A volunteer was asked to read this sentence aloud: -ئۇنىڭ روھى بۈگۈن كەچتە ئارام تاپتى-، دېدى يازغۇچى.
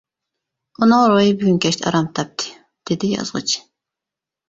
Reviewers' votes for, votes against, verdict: 2, 0, accepted